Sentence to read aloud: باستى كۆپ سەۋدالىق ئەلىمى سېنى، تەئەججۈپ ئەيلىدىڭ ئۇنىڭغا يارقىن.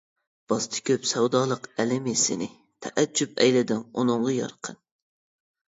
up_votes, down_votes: 2, 0